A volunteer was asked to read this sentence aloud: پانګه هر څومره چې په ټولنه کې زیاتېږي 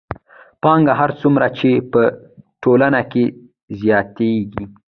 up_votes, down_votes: 1, 2